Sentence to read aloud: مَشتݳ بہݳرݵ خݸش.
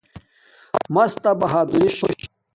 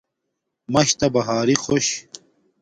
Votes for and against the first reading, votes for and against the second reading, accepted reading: 1, 2, 2, 0, second